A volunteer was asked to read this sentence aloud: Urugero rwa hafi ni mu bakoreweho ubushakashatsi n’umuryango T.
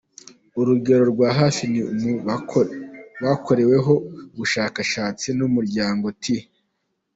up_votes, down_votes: 0, 2